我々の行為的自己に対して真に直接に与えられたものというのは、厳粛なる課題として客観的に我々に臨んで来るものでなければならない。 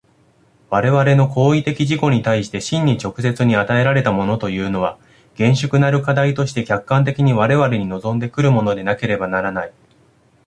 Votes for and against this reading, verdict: 2, 1, accepted